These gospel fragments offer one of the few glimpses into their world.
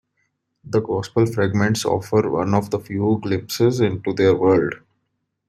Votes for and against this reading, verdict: 0, 2, rejected